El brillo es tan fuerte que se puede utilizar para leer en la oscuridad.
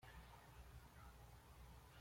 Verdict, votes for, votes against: rejected, 1, 2